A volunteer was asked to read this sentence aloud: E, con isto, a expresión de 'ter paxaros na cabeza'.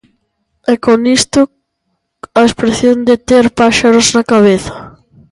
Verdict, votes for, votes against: rejected, 0, 2